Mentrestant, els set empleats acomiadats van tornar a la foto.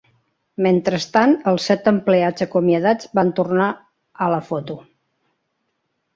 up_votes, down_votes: 3, 0